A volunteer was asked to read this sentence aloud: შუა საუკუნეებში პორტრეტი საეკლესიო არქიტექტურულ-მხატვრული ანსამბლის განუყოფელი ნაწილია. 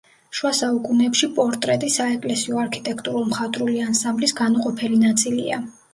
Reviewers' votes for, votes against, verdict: 2, 0, accepted